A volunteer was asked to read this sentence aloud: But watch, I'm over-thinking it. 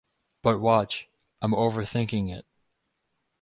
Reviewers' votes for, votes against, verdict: 2, 2, rejected